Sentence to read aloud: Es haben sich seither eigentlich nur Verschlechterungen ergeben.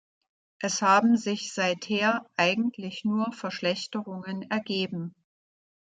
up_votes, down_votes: 2, 0